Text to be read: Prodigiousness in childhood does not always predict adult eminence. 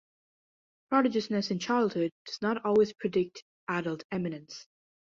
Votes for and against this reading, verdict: 2, 0, accepted